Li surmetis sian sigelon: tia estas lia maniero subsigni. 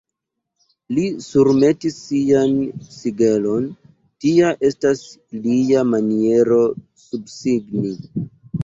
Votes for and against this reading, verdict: 2, 0, accepted